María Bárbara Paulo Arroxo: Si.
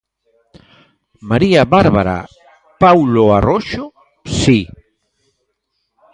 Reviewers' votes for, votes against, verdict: 2, 0, accepted